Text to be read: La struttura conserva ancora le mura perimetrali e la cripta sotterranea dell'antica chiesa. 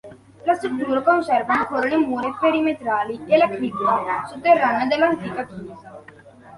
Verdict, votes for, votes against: accepted, 2, 1